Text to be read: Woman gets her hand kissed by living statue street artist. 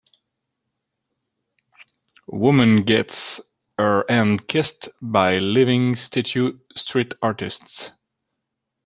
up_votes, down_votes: 0, 2